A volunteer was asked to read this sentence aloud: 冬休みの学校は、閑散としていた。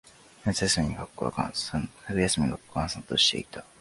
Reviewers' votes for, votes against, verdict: 0, 2, rejected